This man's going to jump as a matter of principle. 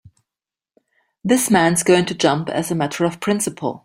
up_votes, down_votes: 3, 0